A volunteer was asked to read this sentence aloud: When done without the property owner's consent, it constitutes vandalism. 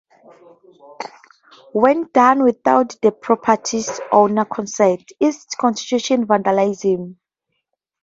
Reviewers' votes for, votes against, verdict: 2, 0, accepted